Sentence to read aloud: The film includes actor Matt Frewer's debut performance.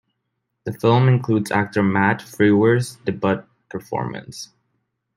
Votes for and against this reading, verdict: 0, 2, rejected